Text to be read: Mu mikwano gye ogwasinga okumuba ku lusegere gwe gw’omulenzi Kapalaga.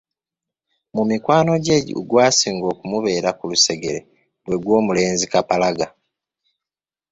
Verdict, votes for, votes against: rejected, 2, 3